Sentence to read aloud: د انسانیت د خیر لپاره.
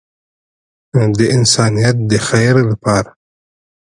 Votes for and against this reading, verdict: 2, 1, accepted